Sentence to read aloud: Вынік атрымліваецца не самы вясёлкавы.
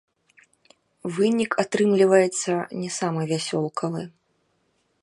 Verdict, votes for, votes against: rejected, 0, 2